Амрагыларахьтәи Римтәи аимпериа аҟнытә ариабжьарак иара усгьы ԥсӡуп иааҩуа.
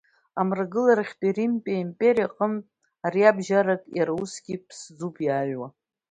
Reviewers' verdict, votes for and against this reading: accepted, 2, 0